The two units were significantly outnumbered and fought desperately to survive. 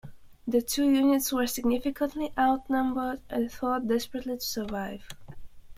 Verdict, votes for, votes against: accepted, 2, 0